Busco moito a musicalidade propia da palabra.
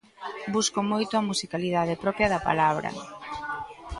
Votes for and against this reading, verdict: 2, 1, accepted